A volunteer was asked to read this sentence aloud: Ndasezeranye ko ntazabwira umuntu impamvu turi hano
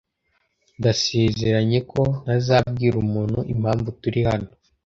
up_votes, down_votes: 2, 0